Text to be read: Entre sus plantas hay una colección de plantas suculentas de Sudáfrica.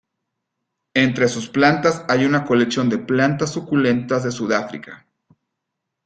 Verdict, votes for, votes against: accepted, 2, 0